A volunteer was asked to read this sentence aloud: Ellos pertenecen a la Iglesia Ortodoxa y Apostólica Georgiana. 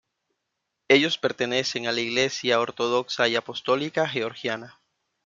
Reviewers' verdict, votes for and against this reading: rejected, 1, 2